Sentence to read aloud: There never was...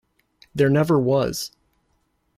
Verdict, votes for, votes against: accepted, 2, 0